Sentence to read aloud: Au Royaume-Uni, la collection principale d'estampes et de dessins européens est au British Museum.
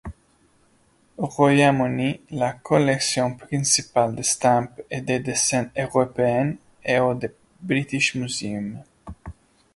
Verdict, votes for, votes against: rejected, 1, 2